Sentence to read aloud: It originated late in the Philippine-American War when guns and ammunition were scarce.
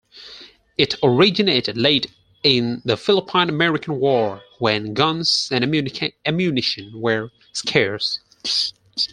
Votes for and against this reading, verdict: 0, 4, rejected